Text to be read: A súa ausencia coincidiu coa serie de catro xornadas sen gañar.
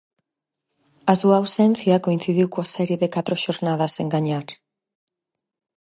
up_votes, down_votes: 4, 0